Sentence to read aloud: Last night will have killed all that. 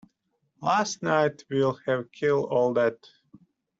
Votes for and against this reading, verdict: 0, 2, rejected